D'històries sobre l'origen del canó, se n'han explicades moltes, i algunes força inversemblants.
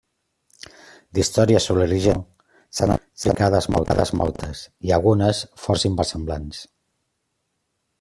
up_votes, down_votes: 0, 2